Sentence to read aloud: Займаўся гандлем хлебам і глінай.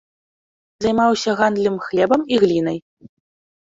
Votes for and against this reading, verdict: 0, 2, rejected